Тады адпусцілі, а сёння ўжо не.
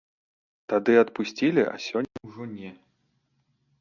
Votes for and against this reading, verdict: 3, 0, accepted